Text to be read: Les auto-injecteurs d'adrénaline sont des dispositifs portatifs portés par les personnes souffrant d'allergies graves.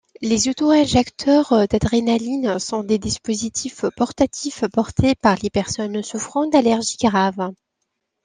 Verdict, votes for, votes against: accepted, 2, 0